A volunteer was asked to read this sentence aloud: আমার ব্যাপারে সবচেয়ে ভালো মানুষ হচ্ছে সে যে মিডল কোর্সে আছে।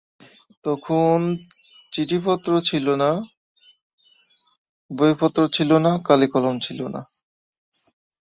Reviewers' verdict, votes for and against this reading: rejected, 0, 12